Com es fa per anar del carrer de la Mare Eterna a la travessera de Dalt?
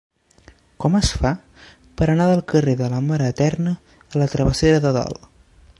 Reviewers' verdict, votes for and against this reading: rejected, 0, 2